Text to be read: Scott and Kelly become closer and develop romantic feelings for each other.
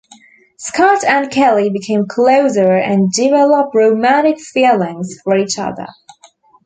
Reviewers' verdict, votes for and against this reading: rejected, 1, 2